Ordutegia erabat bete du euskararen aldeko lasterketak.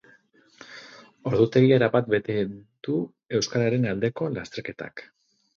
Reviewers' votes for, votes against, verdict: 2, 4, rejected